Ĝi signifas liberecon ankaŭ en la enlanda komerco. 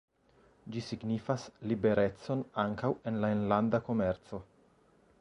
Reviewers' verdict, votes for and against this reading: accepted, 2, 0